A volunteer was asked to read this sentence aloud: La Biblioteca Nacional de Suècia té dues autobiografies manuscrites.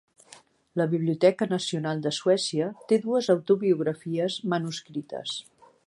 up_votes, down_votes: 3, 0